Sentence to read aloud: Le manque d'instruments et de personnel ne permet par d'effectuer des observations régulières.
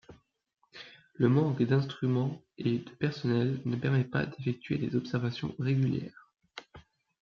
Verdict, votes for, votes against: accepted, 2, 1